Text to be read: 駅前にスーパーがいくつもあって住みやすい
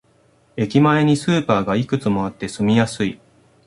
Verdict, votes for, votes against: accepted, 2, 0